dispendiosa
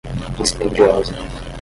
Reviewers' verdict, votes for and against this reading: rejected, 5, 10